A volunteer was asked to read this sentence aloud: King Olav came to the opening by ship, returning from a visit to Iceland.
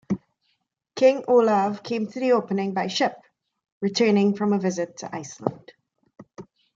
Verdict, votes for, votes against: accepted, 2, 0